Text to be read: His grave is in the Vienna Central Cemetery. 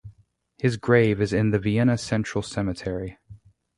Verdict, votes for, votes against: accepted, 2, 0